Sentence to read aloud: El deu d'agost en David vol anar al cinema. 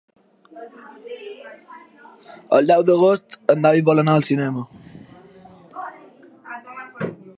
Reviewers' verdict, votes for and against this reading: accepted, 3, 0